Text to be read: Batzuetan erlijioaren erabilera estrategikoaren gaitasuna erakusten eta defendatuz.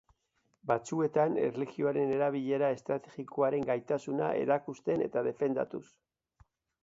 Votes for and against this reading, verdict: 3, 0, accepted